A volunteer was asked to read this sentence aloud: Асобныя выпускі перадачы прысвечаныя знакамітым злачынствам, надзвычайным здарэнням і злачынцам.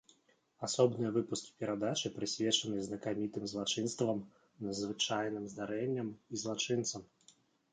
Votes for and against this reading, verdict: 2, 0, accepted